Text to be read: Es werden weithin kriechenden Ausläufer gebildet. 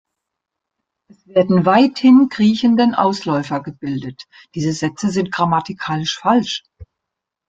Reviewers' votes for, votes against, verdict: 0, 3, rejected